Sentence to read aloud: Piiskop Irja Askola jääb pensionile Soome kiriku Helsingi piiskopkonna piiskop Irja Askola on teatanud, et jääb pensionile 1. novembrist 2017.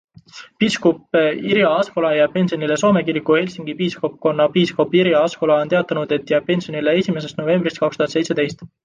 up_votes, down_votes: 0, 2